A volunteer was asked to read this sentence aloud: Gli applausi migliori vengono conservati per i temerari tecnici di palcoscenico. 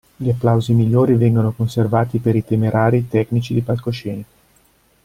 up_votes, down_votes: 2, 0